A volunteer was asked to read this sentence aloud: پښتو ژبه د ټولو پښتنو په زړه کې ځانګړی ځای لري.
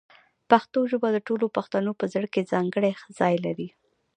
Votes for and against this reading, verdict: 1, 2, rejected